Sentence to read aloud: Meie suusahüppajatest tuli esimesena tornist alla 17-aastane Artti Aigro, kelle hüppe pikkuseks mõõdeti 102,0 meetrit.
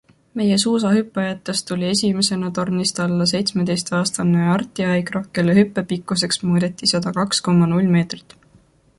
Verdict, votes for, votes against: rejected, 0, 2